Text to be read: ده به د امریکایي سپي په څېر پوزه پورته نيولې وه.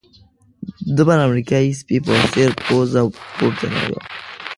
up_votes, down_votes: 1, 2